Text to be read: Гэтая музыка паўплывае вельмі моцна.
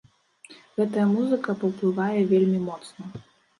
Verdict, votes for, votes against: accepted, 2, 0